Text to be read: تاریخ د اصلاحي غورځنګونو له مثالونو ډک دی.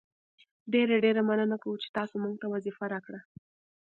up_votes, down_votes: 1, 2